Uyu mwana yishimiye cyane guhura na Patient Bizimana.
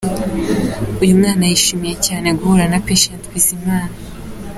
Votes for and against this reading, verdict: 2, 1, accepted